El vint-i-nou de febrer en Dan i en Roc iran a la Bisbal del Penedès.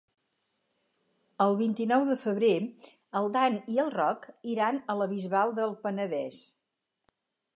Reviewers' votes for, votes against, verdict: 2, 6, rejected